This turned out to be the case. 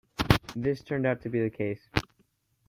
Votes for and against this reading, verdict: 2, 0, accepted